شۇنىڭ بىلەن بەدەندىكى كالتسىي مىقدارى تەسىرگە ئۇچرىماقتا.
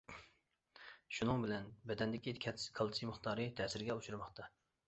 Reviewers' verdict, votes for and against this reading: rejected, 0, 2